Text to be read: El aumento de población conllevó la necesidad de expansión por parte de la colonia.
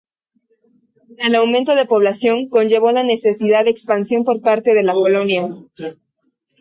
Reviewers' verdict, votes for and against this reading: rejected, 0, 2